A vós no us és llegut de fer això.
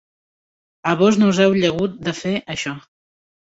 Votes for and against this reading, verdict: 0, 2, rejected